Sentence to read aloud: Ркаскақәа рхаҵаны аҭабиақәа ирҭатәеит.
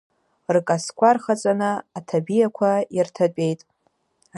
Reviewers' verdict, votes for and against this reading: rejected, 0, 2